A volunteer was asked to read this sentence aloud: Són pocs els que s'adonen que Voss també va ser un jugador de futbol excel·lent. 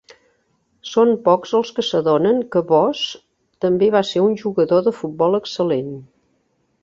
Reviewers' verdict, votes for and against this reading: accepted, 3, 0